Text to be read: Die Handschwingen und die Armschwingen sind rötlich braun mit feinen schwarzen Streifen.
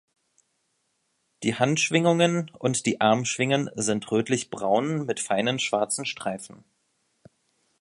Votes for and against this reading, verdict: 1, 3, rejected